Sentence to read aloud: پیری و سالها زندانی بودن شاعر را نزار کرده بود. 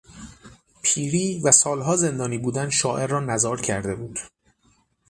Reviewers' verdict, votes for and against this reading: accepted, 6, 0